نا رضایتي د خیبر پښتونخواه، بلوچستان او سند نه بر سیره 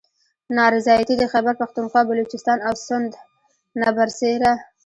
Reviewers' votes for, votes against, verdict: 1, 2, rejected